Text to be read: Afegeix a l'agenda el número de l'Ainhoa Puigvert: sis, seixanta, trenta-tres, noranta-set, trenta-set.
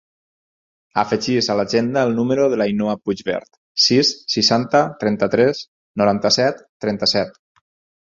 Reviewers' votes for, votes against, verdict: 4, 0, accepted